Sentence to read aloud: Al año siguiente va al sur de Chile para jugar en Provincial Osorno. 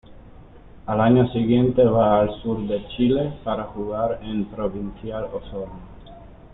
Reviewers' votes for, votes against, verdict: 2, 1, accepted